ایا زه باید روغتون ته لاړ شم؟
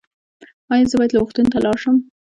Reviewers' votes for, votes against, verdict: 2, 1, accepted